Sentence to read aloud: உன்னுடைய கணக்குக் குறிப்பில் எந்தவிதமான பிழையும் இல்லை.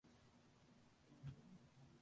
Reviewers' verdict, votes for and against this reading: rejected, 1, 2